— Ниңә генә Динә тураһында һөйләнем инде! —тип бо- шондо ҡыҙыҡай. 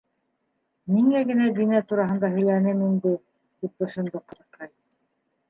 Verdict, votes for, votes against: rejected, 1, 2